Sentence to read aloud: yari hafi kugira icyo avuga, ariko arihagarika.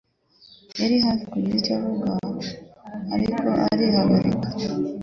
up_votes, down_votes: 1, 2